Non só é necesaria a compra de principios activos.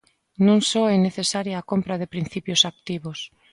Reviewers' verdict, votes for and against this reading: accepted, 2, 0